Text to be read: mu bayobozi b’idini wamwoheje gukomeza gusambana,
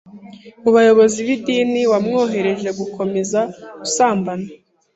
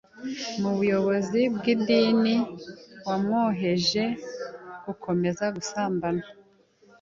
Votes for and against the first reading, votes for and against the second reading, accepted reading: 2, 0, 1, 2, first